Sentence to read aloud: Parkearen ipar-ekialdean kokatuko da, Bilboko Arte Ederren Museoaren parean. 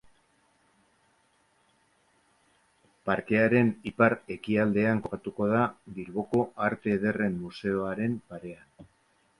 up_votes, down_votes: 2, 0